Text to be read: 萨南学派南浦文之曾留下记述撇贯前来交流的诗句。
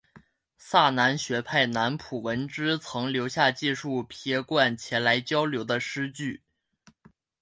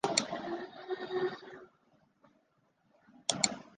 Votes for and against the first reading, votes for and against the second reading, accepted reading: 2, 0, 0, 2, first